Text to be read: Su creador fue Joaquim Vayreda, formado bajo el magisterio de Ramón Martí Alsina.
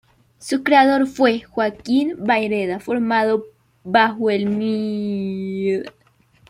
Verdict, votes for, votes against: rejected, 0, 2